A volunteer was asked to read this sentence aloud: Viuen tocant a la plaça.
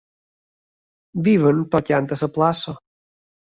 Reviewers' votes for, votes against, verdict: 1, 2, rejected